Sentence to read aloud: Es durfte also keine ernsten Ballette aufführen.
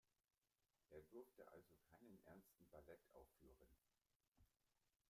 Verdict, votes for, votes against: rejected, 1, 2